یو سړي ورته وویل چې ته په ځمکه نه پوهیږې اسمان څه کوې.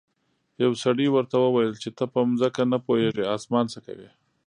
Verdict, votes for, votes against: accepted, 2, 0